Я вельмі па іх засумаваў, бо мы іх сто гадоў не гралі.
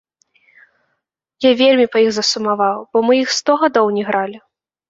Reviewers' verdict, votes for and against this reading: accepted, 2, 0